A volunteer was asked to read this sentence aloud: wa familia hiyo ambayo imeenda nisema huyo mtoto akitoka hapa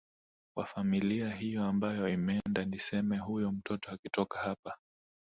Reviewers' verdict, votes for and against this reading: accepted, 3, 1